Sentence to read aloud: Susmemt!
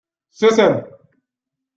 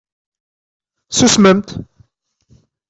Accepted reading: second